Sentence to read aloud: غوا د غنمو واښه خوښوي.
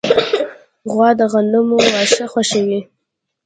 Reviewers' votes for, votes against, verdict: 1, 2, rejected